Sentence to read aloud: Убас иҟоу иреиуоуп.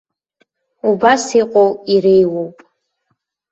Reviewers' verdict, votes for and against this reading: accepted, 2, 0